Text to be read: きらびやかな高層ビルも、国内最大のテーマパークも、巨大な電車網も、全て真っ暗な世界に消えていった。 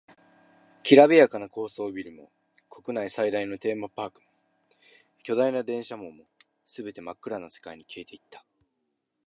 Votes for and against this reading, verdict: 2, 0, accepted